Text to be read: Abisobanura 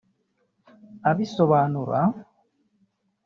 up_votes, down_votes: 1, 2